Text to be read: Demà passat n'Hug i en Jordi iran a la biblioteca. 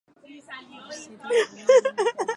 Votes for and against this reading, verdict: 0, 2, rejected